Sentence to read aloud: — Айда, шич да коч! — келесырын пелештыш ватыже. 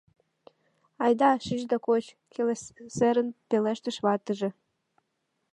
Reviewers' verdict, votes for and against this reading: rejected, 0, 2